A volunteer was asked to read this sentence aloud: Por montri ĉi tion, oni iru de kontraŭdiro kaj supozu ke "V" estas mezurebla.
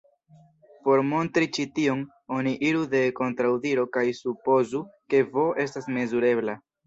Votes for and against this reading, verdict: 2, 0, accepted